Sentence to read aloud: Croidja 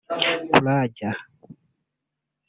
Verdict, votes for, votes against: rejected, 1, 2